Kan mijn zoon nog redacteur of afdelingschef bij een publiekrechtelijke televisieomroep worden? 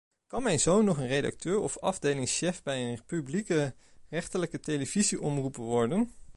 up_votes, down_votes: 1, 2